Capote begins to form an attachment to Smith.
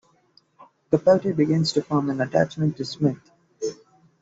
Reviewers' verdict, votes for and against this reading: accepted, 2, 1